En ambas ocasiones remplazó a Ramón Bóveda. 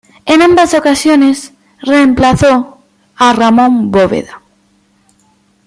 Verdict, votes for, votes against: accepted, 2, 0